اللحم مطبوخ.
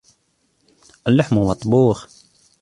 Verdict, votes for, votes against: accepted, 2, 0